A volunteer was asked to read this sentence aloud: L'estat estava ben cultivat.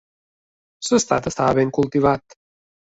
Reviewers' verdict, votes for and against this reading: accepted, 3, 0